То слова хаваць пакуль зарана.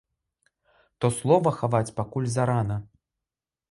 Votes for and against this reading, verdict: 2, 0, accepted